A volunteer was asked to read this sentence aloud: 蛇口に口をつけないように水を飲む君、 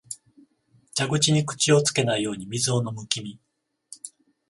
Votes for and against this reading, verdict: 7, 14, rejected